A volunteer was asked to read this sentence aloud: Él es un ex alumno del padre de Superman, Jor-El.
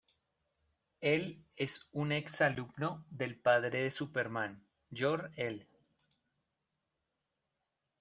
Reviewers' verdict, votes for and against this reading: rejected, 1, 2